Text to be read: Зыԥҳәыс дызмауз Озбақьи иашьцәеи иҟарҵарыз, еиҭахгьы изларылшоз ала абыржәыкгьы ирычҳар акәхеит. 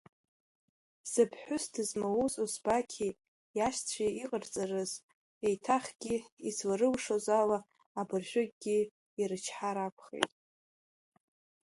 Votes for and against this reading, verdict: 3, 1, accepted